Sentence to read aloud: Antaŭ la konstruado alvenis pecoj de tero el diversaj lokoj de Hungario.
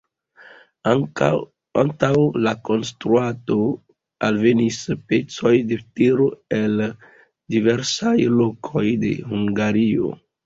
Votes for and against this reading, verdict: 0, 2, rejected